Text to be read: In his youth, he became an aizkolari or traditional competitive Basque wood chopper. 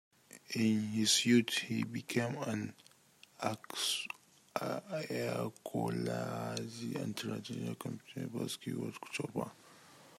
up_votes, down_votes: 0, 2